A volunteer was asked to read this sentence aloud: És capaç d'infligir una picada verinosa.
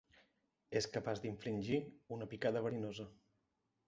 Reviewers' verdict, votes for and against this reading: rejected, 1, 2